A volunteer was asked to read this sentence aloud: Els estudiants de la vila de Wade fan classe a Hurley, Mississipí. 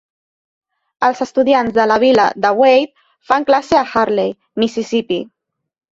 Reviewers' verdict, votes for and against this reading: accepted, 2, 0